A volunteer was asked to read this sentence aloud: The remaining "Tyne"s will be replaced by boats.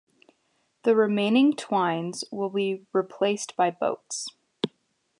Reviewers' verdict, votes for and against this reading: accepted, 2, 0